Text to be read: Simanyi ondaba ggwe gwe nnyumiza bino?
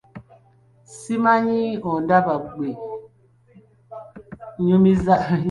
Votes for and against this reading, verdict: 0, 3, rejected